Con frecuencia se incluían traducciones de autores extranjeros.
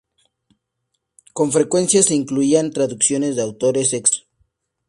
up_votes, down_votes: 0, 2